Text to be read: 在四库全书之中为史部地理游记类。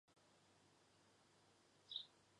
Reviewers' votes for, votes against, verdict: 0, 2, rejected